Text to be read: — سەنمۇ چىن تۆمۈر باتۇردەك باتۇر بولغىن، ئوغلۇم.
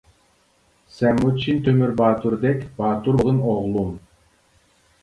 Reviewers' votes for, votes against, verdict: 1, 2, rejected